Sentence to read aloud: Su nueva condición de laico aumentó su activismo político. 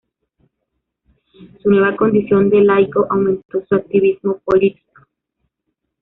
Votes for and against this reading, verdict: 1, 2, rejected